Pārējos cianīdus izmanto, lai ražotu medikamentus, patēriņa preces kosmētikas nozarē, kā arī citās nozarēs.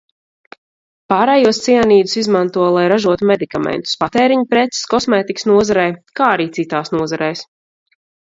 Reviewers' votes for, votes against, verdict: 4, 0, accepted